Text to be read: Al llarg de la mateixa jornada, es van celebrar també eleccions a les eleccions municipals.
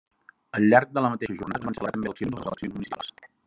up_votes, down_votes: 0, 2